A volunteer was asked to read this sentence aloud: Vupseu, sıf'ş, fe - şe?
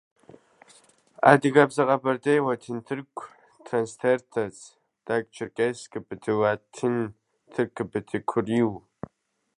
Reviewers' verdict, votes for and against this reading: rejected, 0, 2